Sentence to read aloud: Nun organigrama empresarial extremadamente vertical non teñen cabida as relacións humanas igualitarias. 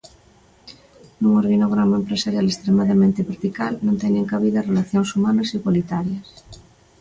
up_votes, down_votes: 2, 1